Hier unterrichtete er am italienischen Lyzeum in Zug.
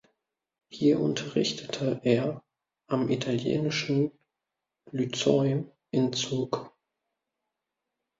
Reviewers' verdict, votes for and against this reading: rejected, 0, 2